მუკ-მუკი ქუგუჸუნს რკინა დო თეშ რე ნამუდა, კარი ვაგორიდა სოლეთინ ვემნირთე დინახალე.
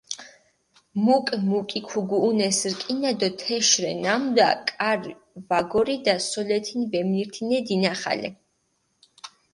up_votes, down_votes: 2, 4